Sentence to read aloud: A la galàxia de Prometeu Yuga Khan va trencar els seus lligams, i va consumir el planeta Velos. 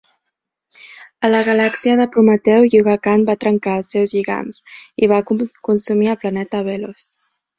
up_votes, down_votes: 2, 1